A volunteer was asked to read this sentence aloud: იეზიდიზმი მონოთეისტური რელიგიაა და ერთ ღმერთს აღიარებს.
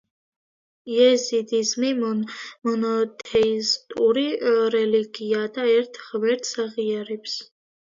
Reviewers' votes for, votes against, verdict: 2, 1, accepted